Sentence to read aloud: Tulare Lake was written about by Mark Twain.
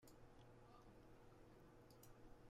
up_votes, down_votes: 0, 2